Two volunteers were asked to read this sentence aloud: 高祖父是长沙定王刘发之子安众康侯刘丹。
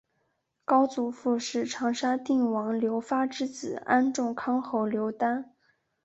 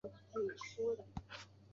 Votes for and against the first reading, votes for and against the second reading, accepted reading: 2, 0, 1, 4, first